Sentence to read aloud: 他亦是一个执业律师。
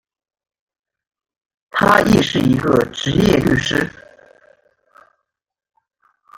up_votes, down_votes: 0, 2